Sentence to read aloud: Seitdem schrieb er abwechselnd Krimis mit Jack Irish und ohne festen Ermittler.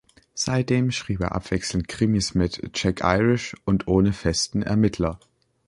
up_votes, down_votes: 2, 0